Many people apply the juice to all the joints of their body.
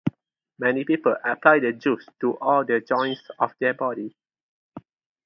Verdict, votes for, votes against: accepted, 2, 0